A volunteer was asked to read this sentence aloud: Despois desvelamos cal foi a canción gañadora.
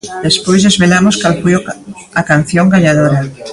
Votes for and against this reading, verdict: 0, 2, rejected